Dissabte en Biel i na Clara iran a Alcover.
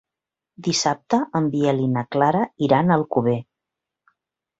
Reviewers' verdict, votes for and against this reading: accepted, 2, 0